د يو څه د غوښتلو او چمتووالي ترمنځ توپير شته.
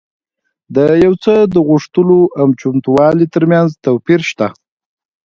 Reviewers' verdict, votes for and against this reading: accepted, 2, 0